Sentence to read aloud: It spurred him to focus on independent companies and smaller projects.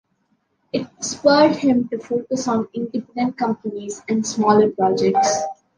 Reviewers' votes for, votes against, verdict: 0, 2, rejected